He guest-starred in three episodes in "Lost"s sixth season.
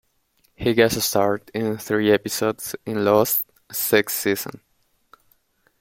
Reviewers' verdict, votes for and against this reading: rejected, 1, 2